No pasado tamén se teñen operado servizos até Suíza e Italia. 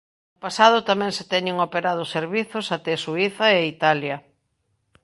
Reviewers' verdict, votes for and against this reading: rejected, 0, 2